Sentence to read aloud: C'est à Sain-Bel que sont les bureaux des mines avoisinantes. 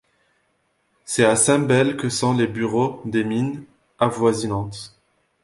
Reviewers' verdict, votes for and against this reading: accepted, 2, 0